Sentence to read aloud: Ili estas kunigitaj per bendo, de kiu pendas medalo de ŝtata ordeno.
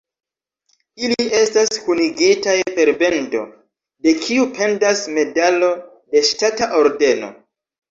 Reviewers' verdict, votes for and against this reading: accepted, 2, 1